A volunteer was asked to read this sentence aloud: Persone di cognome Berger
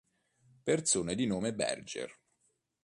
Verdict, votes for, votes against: rejected, 0, 2